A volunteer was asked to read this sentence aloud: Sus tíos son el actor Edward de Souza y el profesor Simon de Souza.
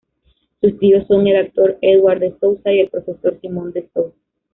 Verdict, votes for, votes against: rejected, 1, 2